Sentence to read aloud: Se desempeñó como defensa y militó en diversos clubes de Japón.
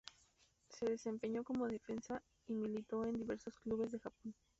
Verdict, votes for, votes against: rejected, 0, 2